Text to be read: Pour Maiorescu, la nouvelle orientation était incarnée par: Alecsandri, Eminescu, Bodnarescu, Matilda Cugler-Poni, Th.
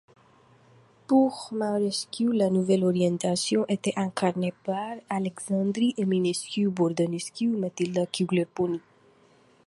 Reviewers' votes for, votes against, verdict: 2, 1, accepted